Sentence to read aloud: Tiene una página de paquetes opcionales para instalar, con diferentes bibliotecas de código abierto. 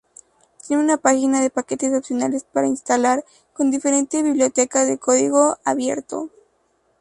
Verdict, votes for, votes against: accepted, 2, 0